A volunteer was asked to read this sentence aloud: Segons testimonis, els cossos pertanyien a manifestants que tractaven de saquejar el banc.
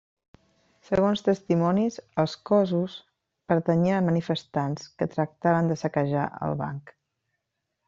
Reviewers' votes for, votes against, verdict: 1, 2, rejected